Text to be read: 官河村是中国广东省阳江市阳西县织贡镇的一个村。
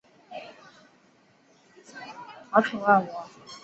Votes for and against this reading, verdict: 1, 2, rejected